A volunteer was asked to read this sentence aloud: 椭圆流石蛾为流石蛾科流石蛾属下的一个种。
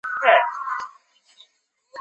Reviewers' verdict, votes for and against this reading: rejected, 0, 4